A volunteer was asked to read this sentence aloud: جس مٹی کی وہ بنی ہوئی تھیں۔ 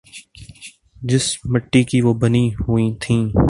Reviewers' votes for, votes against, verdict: 3, 0, accepted